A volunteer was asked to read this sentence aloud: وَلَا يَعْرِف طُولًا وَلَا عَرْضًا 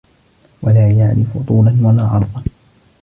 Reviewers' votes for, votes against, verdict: 1, 2, rejected